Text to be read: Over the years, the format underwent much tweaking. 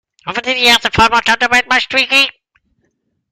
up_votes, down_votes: 1, 2